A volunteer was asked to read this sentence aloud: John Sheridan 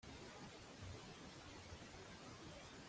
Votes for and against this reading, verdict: 0, 2, rejected